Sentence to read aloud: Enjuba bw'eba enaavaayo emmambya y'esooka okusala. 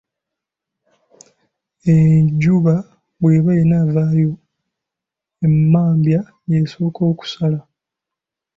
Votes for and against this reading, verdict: 2, 1, accepted